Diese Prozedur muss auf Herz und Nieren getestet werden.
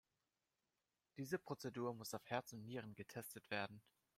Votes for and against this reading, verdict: 2, 0, accepted